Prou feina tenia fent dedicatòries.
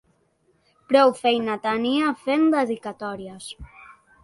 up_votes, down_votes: 2, 0